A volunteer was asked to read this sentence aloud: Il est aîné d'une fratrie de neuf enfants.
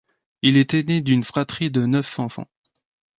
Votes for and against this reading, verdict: 2, 0, accepted